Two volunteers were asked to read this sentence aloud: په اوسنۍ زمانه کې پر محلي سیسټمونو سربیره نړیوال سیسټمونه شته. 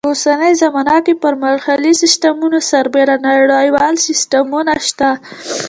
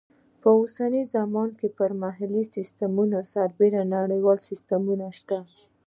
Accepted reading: first